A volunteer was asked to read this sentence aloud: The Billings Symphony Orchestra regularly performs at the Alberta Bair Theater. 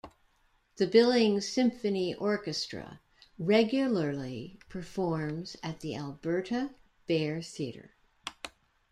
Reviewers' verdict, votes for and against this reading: accepted, 2, 0